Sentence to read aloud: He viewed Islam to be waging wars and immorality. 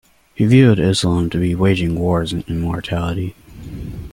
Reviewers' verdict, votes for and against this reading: rejected, 0, 2